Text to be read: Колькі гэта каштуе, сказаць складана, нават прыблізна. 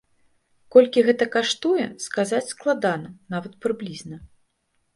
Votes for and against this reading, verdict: 2, 0, accepted